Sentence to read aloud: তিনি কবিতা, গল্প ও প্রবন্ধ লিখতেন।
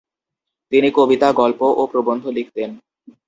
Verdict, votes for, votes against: accepted, 2, 0